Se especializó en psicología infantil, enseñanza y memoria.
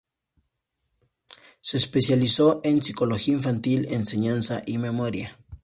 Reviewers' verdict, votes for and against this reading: accepted, 2, 0